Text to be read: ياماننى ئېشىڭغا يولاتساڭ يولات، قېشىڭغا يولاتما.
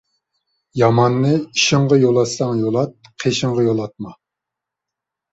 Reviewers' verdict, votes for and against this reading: accepted, 2, 0